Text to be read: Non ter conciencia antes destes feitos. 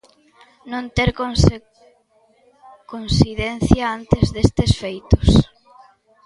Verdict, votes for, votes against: rejected, 0, 2